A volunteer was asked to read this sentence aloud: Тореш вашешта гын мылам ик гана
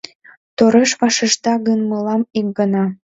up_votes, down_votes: 2, 0